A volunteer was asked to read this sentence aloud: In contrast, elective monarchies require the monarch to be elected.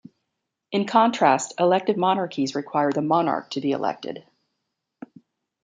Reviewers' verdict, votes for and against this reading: accepted, 2, 1